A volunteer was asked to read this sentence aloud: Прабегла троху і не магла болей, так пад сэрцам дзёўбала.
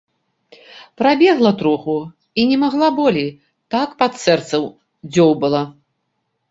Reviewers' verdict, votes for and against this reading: accepted, 3, 2